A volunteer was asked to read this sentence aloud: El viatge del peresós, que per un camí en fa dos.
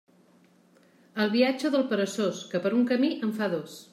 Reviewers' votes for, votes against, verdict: 0, 2, rejected